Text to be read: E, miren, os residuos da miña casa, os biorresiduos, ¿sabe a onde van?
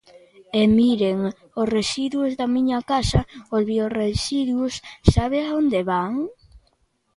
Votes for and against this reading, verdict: 1, 2, rejected